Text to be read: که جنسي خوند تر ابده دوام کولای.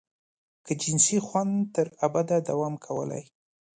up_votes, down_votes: 2, 0